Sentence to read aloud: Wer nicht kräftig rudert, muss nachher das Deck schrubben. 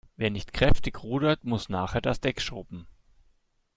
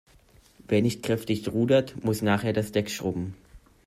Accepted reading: first